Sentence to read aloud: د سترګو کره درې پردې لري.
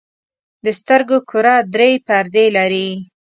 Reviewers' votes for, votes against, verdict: 2, 0, accepted